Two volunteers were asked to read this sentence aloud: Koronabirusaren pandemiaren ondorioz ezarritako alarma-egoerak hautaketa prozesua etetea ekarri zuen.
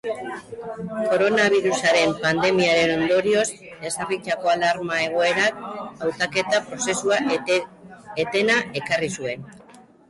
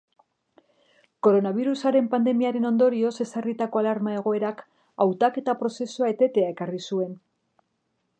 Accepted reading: second